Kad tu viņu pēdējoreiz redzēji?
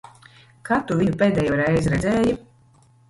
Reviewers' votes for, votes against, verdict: 1, 2, rejected